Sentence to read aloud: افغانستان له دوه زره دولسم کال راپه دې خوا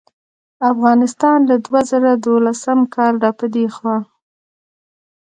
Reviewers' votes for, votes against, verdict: 2, 0, accepted